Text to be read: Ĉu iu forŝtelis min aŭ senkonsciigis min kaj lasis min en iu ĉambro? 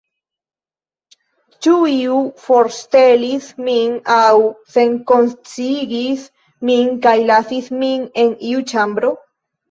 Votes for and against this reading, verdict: 1, 2, rejected